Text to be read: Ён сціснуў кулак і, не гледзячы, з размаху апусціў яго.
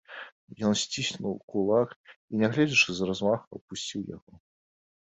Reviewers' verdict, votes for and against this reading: rejected, 1, 2